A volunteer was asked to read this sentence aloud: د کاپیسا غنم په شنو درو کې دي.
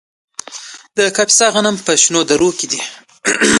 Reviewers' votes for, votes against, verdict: 3, 1, accepted